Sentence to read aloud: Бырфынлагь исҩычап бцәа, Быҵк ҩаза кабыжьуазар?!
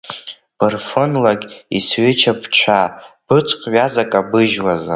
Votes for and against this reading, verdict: 2, 1, accepted